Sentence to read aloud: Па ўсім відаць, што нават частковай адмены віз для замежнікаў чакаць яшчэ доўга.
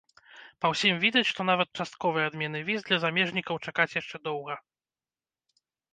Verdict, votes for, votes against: rejected, 0, 2